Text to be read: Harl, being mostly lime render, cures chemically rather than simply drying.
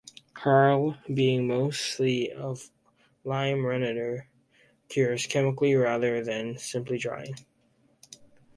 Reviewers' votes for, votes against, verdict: 0, 2, rejected